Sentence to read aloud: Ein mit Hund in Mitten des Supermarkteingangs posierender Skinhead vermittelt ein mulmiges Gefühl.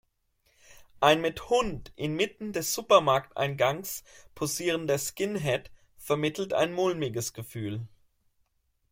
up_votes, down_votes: 2, 0